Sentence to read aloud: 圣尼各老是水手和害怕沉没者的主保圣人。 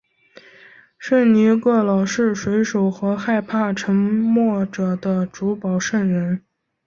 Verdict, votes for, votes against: accepted, 6, 0